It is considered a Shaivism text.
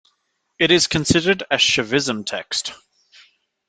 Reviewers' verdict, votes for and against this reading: accepted, 2, 0